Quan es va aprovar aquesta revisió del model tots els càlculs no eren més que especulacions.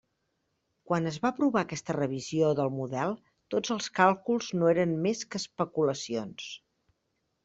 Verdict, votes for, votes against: accepted, 3, 0